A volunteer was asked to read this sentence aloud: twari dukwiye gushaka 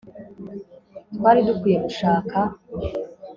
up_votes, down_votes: 2, 0